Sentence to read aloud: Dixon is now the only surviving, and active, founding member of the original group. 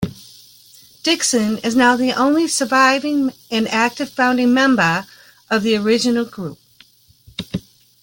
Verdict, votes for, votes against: accepted, 2, 0